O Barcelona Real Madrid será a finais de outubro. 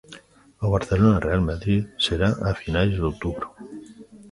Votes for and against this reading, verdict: 2, 0, accepted